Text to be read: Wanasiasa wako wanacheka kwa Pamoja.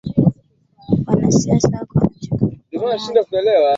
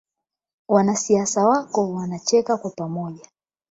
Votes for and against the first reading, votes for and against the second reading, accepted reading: 3, 4, 12, 0, second